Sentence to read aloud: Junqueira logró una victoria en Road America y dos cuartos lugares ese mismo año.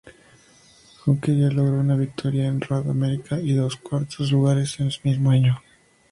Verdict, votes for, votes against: accepted, 2, 0